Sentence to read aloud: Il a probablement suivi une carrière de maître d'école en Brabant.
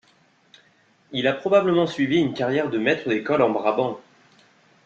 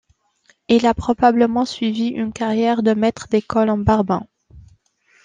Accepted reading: first